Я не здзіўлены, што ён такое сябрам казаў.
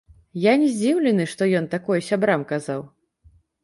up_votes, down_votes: 1, 2